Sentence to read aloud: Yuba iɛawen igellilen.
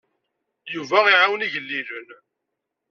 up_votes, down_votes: 2, 0